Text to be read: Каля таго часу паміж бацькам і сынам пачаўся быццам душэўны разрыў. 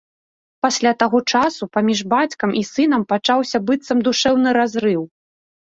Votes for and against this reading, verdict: 0, 2, rejected